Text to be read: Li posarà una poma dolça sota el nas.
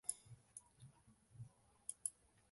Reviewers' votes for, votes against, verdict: 0, 2, rejected